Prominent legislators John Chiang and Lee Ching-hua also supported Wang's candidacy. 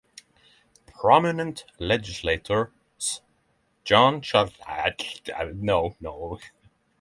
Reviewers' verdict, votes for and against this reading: rejected, 0, 3